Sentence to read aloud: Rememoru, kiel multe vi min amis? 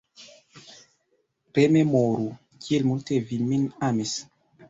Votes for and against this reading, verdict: 2, 0, accepted